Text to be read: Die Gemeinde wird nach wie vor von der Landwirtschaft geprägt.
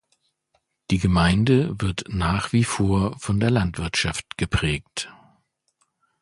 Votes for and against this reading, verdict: 2, 0, accepted